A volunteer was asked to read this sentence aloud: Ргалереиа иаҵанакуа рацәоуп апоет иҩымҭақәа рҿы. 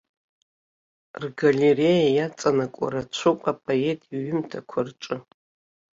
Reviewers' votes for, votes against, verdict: 0, 3, rejected